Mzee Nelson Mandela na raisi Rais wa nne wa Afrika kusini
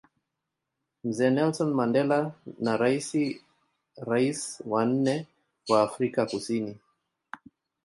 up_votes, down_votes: 2, 0